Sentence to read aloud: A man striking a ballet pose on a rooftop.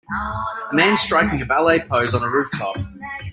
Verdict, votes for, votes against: rejected, 0, 2